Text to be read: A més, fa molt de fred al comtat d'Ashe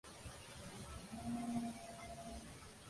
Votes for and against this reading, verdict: 0, 2, rejected